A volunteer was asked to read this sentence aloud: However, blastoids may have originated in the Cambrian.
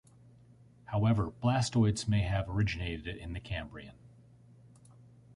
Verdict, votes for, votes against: accepted, 2, 0